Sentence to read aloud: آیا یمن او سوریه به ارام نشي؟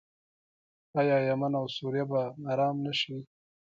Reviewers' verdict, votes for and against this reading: rejected, 0, 2